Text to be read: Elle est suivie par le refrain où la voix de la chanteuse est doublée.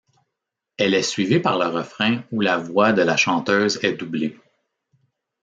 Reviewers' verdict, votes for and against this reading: accepted, 2, 0